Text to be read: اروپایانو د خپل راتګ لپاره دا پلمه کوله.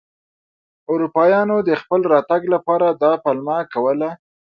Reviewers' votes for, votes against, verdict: 2, 0, accepted